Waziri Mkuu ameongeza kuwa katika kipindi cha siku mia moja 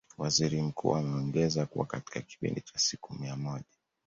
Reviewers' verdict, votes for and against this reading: accepted, 2, 0